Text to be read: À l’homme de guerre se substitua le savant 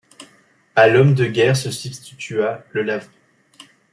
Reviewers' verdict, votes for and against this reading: rejected, 1, 2